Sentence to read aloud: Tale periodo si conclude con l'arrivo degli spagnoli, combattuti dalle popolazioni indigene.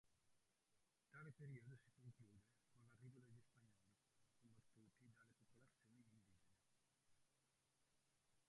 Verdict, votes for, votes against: rejected, 0, 2